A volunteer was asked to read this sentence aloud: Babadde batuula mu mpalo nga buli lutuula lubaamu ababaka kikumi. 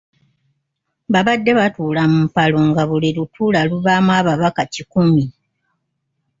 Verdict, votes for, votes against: accepted, 2, 0